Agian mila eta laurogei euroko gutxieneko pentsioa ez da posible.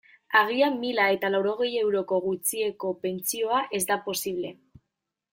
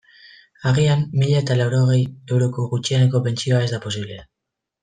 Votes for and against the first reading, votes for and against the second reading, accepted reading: 0, 2, 2, 0, second